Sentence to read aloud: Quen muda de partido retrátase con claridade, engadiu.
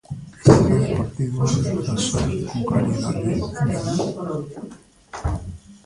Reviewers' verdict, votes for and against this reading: rejected, 0, 2